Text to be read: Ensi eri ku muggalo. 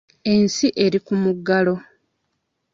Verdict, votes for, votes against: accepted, 2, 0